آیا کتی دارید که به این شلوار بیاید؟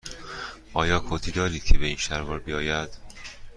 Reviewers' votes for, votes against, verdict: 2, 0, accepted